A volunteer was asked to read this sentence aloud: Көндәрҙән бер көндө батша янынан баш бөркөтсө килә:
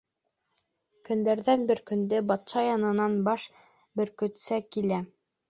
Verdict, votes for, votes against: rejected, 1, 2